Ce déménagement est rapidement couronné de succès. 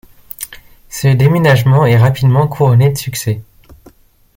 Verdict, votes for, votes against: accepted, 2, 0